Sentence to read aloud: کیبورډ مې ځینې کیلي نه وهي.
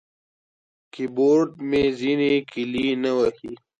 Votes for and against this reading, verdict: 2, 0, accepted